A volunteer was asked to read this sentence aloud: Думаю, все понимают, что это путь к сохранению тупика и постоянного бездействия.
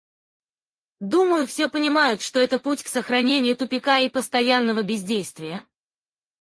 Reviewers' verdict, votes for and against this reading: accepted, 2, 0